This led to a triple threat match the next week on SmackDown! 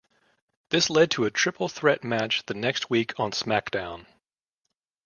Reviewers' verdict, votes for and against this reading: accepted, 2, 0